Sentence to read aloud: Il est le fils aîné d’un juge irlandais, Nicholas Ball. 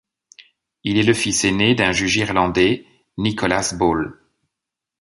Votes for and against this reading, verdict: 2, 0, accepted